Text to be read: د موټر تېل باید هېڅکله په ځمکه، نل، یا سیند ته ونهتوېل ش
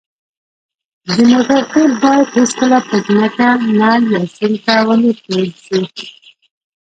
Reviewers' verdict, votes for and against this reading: rejected, 0, 2